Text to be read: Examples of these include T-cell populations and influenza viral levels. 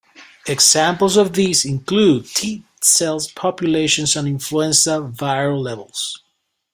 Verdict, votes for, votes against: accepted, 2, 1